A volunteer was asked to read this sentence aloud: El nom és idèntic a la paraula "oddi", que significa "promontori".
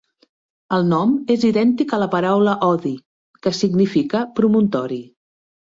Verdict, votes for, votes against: accepted, 2, 0